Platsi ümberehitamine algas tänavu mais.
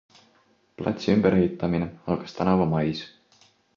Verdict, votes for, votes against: accepted, 2, 0